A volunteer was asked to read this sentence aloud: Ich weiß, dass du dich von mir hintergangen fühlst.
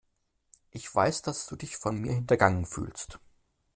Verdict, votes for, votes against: accepted, 2, 0